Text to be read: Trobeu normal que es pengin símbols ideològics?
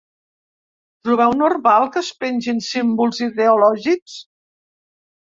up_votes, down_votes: 3, 0